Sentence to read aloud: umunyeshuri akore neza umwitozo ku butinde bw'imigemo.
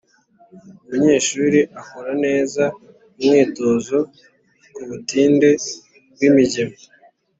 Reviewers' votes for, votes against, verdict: 5, 0, accepted